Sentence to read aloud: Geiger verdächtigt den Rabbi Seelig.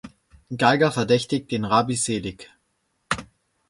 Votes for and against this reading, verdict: 2, 0, accepted